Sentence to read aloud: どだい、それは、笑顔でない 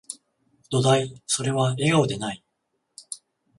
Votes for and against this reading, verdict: 14, 0, accepted